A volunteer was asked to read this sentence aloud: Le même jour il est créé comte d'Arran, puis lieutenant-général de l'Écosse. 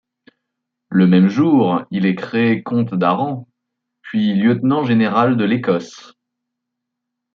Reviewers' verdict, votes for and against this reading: accepted, 2, 0